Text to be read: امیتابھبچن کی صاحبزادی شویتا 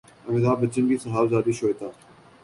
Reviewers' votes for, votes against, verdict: 2, 0, accepted